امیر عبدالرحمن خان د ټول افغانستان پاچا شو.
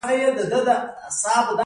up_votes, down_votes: 2, 1